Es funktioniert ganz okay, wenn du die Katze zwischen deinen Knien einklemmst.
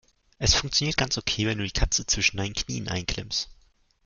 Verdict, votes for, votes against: rejected, 0, 2